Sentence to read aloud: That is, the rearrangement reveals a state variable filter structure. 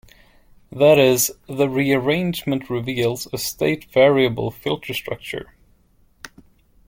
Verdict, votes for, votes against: accepted, 2, 1